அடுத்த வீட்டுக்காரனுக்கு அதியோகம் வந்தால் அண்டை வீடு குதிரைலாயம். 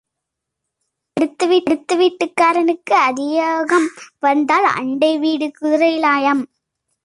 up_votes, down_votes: 0, 2